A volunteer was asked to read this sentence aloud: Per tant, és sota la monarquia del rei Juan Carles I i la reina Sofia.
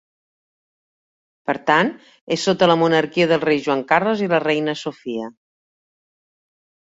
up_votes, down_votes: 1, 2